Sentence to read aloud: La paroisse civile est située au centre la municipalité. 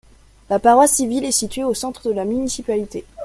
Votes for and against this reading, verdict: 2, 0, accepted